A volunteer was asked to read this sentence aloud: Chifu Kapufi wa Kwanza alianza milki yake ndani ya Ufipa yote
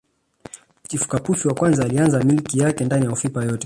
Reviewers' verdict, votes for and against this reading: rejected, 0, 2